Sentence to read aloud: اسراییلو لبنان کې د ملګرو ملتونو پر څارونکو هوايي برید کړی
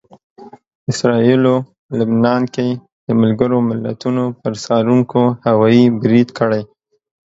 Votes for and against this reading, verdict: 2, 0, accepted